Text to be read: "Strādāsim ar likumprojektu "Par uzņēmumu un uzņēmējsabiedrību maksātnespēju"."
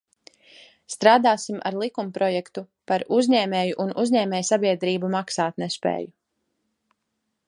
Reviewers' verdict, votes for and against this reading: rejected, 0, 2